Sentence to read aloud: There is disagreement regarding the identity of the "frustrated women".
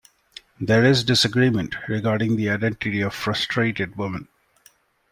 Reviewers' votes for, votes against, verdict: 0, 2, rejected